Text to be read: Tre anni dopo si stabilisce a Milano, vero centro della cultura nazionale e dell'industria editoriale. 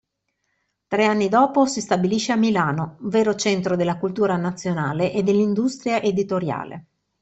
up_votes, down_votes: 2, 0